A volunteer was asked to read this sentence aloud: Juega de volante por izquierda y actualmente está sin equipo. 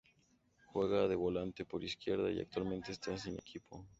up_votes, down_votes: 2, 0